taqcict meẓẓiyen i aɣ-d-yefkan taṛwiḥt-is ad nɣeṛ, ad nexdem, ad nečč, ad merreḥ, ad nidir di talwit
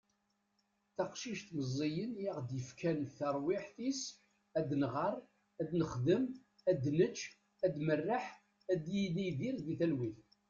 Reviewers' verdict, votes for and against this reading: rejected, 1, 2